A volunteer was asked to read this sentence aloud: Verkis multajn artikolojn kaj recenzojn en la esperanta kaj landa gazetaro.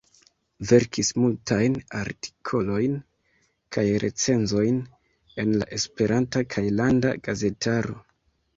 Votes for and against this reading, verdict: 1, 2, rejected